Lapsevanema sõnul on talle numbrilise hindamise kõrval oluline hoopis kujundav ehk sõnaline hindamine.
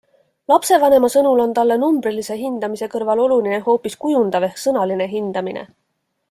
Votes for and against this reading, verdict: 2, 0, accepted